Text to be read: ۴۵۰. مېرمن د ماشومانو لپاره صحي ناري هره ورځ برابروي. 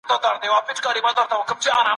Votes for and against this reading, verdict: 0, 2, rejected